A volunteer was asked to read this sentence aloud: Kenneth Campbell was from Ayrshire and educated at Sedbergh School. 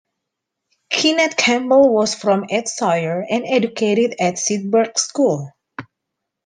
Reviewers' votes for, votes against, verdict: 0, 2, rejected